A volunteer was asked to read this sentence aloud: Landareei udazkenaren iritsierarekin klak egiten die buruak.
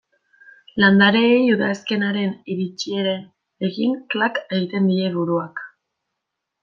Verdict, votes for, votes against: rejected, 1, 2